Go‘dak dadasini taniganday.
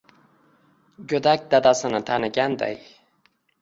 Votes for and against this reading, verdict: 1, 2, rejected